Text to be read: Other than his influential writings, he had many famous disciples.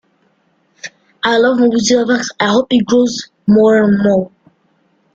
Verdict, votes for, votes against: rejected, 0, 2